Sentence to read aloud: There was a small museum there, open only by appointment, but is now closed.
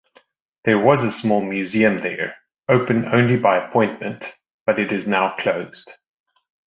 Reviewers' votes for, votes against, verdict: 0, 2, rejected